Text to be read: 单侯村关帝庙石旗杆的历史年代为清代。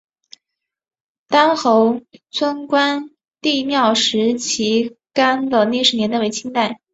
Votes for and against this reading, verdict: 4, 0, accepted